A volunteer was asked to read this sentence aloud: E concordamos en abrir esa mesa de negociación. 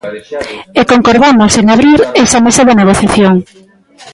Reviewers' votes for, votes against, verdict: 0, 2, rejected